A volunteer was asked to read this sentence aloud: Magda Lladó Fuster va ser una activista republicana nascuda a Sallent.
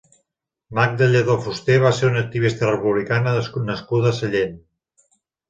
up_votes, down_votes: 0, 2